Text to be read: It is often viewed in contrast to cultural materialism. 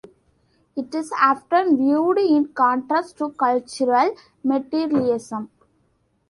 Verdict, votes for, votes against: accepted, 2, 0